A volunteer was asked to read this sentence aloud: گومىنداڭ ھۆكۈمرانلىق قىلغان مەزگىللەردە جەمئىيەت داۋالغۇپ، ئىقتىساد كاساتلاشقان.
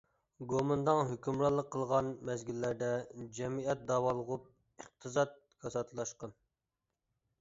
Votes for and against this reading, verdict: 2, 0, accepted